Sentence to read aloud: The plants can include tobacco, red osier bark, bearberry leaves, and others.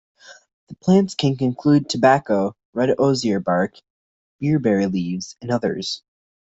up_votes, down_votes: 0, 2